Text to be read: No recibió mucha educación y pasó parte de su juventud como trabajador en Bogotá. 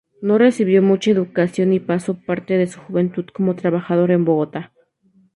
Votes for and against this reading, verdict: 2, 0, accepted